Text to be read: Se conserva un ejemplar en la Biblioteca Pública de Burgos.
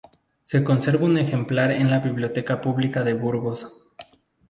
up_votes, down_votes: 2, 0